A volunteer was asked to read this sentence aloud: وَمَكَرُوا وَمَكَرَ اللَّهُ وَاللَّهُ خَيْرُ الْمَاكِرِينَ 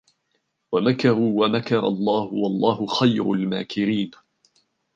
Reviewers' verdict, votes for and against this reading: rejected, 1, 2